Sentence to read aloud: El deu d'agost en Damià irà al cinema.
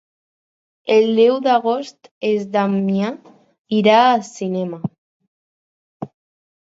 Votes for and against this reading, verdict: 2, 4, rejected